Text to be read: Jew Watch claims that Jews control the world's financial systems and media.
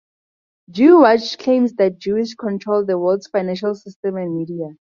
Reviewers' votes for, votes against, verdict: 2, 0, accepted